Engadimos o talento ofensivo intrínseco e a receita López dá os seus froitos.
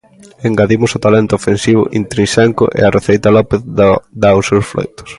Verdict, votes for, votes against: rejected, 0, 2